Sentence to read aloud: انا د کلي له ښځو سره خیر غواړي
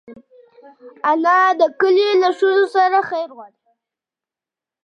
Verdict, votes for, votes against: accepted, 2, 0